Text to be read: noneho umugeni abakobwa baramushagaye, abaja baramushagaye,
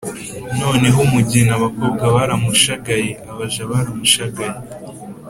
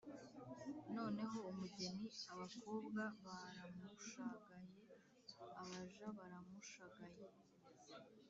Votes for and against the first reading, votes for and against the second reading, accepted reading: 2, 0, 0, 2, first